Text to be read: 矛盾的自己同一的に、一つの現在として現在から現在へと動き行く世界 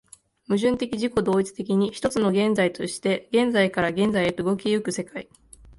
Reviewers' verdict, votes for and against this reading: accepted, 2, 0